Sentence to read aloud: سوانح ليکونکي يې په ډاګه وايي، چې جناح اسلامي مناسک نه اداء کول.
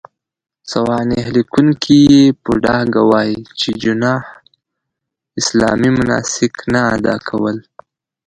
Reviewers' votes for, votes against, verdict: 0, 2, rejected